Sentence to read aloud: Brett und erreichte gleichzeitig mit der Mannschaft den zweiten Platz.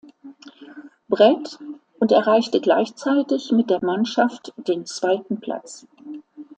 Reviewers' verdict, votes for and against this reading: accepted, 2, 0